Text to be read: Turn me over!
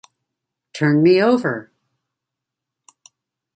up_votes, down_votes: 2, 0